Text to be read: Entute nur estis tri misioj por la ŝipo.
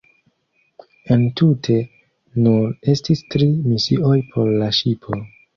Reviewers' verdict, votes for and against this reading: rejected, 1, 2